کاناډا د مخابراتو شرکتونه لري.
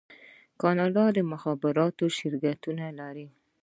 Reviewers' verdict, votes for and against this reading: rejected, 1, 2